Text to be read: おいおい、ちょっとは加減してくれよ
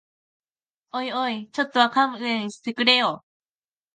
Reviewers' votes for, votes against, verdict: 1, 3, rejected